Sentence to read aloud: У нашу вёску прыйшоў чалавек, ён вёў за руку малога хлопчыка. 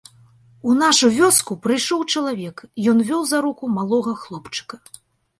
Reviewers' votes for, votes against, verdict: 3, 0, accepted